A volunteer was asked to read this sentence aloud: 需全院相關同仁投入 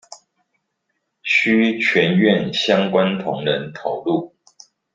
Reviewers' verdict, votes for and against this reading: accepted, 2, 0